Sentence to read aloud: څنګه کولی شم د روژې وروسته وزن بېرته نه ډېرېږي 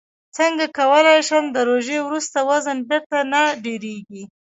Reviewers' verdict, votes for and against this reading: rejected, 0, 2